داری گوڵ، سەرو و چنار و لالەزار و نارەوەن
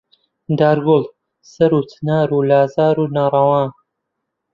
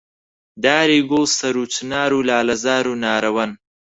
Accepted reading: second